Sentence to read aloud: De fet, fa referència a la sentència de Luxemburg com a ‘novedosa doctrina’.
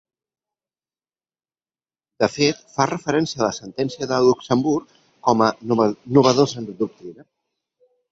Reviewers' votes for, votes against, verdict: 1, 2, rejected